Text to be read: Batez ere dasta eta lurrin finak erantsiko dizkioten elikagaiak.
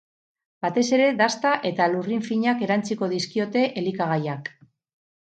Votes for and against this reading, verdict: 2, 2, rejected